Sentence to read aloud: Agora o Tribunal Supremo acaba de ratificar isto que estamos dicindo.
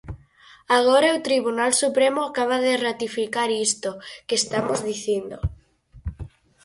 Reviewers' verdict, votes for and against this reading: accepted, 4, 0